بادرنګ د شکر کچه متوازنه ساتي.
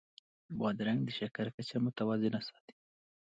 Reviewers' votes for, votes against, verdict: 2, 0, accepted